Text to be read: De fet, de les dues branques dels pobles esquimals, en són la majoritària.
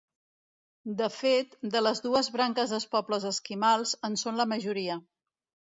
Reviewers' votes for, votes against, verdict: 1, 2, rejected